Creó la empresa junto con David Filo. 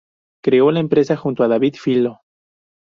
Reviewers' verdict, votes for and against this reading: rejected, 0, 2